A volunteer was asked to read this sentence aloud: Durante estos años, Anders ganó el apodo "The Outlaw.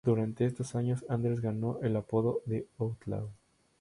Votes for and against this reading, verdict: 2, 0, accepted